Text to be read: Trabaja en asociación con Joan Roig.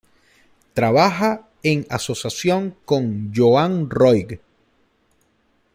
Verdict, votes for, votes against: rejected, 0, 2